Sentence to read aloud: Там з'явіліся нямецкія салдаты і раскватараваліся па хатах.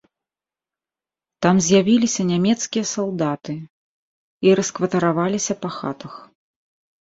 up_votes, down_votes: 3, 0